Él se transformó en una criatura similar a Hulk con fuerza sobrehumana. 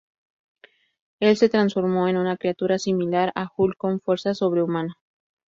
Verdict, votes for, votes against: accepted, 2, 0